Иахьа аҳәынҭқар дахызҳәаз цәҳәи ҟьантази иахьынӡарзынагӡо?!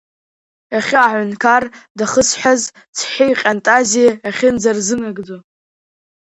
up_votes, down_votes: 0, 2